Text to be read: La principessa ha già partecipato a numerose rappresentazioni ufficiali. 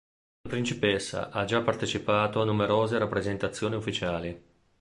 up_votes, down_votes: 1, 2